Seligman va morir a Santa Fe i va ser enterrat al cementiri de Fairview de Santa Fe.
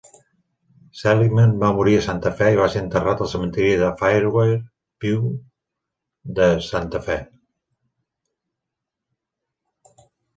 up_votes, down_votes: 1, 2